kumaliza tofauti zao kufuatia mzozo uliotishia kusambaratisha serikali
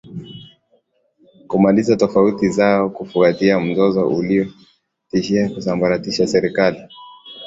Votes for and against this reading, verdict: 2, 1, accepted